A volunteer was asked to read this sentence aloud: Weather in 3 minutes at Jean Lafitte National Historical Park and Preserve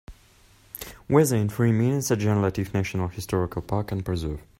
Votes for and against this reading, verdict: 0, 2, rejected